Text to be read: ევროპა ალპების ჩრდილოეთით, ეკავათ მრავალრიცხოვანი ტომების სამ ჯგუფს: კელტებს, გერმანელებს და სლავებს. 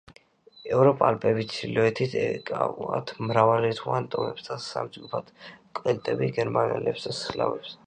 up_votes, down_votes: 0, 2